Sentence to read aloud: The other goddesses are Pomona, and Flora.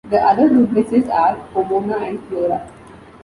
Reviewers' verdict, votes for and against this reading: rejected, 1, 3